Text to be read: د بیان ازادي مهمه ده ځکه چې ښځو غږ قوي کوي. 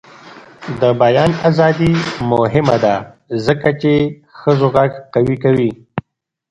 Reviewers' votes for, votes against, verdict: 1, 2, rejected